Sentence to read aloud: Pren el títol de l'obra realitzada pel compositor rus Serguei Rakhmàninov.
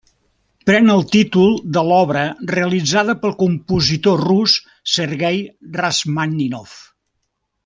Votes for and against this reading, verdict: 1, 2, rejected